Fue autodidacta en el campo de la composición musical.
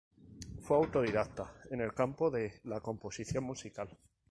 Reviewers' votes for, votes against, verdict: 2, 0, accepted